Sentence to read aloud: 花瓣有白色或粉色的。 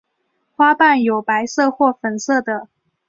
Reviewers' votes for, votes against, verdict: 2, 0, accepted